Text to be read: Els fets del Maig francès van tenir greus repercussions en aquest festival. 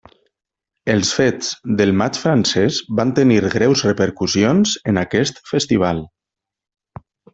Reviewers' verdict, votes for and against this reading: accepted, 3, 1